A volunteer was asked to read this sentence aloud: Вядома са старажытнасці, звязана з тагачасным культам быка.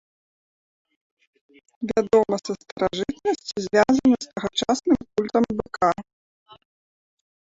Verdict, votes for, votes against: rejected, 1, 2